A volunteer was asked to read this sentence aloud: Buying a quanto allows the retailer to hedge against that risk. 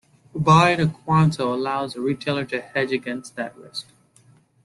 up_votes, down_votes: 2, 0